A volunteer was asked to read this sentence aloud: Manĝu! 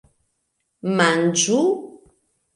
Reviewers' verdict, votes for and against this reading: accepted, 2, 0